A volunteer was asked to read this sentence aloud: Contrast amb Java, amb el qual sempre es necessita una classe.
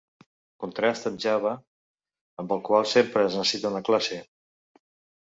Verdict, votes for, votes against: rejected, 0, 2